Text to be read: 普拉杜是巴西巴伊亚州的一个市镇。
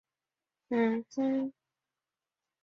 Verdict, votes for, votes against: rejected, 1, 2